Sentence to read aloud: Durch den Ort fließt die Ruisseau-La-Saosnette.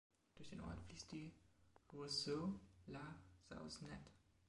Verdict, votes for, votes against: rejected, 1, 2